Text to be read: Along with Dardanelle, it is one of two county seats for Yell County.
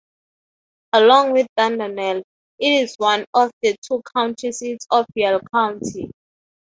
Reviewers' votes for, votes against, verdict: 3, 3, rejected